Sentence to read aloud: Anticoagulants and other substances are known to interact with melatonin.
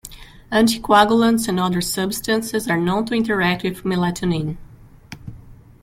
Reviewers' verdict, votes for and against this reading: rejected, 1, 2